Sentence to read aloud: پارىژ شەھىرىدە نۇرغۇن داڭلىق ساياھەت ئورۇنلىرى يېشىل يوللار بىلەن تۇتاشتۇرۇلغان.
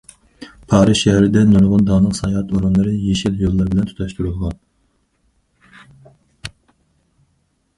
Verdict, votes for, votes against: rejected, 2, 2